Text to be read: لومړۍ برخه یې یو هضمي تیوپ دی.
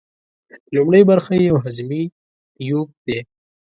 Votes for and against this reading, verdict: 2, 0, accepted